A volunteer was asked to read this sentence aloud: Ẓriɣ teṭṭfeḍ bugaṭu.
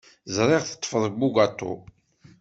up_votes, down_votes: 2, 0